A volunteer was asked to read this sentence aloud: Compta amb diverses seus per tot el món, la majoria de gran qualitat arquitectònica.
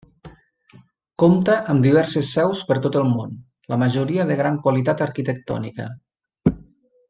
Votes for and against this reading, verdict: 4, 0, accepted